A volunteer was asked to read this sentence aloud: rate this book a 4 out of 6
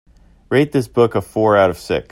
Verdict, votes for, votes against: rejected, 0, 2